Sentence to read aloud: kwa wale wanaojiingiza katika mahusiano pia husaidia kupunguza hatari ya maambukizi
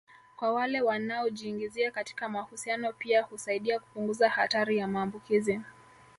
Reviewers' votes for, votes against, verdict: 1, 2, rejected